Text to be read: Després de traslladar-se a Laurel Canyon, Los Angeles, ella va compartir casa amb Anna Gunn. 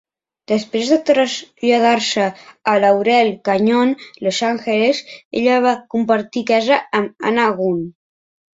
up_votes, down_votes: 0, 3